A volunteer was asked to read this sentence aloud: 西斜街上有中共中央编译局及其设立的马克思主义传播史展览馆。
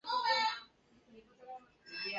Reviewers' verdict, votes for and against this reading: rejected, 0, 2